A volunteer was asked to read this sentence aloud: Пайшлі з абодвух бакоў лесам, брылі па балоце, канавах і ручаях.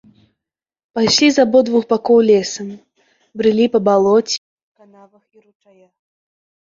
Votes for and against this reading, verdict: 1, 2, rejected